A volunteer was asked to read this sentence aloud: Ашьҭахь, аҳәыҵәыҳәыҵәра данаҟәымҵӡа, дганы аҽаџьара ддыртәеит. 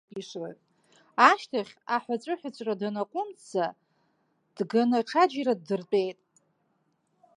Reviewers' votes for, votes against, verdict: 2, 4, rejected